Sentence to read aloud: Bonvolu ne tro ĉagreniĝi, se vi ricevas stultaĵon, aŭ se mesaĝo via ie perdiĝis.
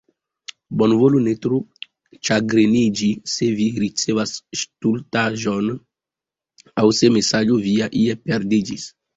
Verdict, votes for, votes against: rejected, 1, 2